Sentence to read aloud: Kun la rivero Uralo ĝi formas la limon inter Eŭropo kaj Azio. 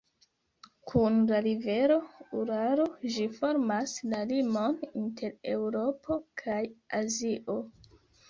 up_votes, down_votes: 0, 2